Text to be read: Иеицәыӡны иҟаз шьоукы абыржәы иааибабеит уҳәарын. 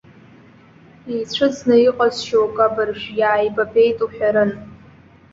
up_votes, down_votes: 1, 2